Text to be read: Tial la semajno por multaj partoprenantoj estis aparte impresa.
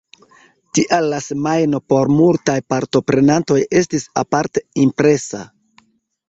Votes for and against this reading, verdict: 2, 0, accepted